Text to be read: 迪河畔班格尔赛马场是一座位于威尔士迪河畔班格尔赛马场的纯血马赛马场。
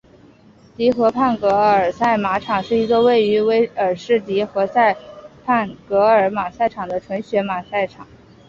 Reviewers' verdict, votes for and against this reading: rejected, 1, 2